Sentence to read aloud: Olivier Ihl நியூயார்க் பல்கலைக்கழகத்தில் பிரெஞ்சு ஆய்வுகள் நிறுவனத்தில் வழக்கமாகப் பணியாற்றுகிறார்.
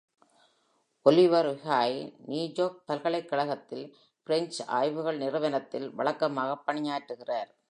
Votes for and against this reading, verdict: 2, 0, accepted